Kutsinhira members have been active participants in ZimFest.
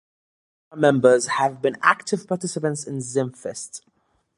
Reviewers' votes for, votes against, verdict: 1, 2, rejected